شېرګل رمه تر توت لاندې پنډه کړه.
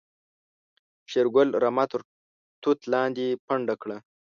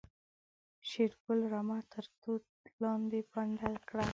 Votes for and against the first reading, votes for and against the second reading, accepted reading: 1, 2, 2, 1, second